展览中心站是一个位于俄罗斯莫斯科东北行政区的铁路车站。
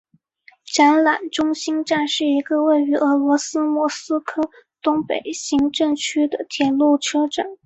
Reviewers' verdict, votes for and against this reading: accepted, 3, 0